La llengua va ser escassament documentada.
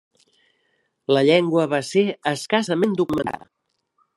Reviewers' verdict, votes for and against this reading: rejected, 1, 2